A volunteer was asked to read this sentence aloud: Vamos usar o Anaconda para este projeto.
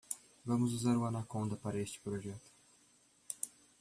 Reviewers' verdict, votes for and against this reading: accepted, 2, 0